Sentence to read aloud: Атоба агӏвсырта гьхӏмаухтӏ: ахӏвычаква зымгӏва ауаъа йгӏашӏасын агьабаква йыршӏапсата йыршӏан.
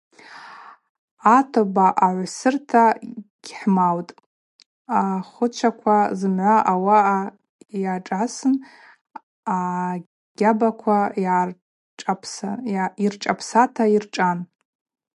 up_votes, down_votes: 0, 2